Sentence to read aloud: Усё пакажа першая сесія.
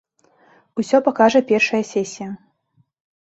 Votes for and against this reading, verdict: 2, 0, accepted